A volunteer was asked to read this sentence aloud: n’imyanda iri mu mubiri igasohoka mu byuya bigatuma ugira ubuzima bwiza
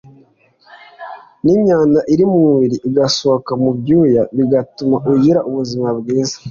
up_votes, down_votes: 2, 0